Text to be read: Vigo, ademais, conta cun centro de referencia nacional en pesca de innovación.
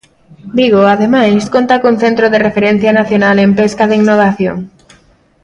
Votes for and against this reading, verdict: 1, 2, rejected